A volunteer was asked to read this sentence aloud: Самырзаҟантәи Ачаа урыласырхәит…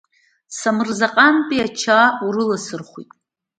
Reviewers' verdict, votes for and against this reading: accepted, 2, 0